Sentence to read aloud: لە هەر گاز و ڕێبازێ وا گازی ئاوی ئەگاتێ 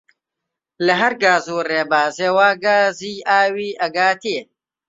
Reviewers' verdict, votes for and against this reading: accepted, 2, 0